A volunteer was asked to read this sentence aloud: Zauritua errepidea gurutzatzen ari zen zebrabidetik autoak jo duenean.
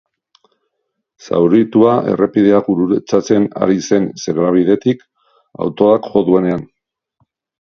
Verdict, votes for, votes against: rejected, 0, 2